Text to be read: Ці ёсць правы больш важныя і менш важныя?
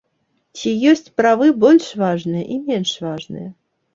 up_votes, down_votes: 2, 0